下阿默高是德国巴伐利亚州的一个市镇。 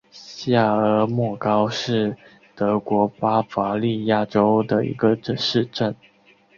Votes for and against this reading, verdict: 3, 0, accepted